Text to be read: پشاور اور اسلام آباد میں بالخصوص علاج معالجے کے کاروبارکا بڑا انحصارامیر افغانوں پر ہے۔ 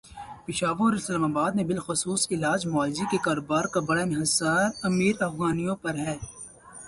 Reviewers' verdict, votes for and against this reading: accepted, 2, 0